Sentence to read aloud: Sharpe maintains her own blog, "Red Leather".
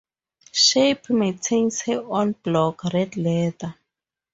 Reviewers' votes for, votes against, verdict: 0, 2, rejected